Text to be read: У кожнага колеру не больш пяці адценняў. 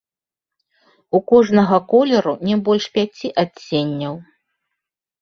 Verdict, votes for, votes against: rejected, 1, 2